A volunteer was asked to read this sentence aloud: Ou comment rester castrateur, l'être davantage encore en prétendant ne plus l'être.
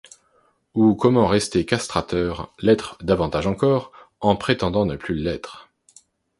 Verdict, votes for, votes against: accepted, 2, 0